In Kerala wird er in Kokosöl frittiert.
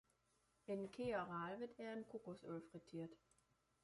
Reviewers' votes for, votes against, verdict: 0, 2, rejected